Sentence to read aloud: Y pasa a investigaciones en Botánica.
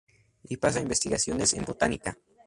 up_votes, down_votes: 4, 0